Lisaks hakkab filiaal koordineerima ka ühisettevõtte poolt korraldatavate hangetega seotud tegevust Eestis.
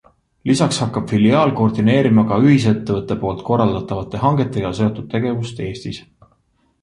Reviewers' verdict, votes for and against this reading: accepted, 2, 0